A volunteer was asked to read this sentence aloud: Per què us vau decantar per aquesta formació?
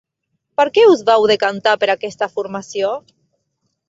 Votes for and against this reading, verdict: 0, 4, rejected